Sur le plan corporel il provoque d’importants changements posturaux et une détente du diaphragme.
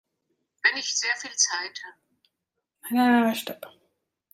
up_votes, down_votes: 0, 2